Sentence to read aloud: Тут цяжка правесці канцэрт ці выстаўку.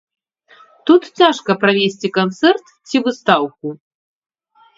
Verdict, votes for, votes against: rejected, 0, 2